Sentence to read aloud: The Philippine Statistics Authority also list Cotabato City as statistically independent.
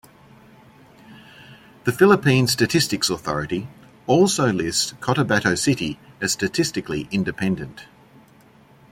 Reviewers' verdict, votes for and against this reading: rejected, 1, 2